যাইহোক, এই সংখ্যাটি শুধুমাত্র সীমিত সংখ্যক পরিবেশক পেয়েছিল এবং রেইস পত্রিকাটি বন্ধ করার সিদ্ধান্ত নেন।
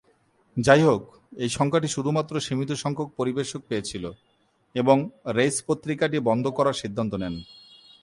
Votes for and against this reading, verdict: 2, 0, accepted